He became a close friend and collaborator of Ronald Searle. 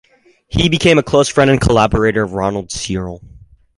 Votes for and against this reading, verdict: 4, 0, accepted